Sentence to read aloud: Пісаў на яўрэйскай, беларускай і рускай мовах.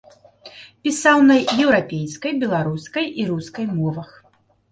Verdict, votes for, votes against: rejected, 1, 3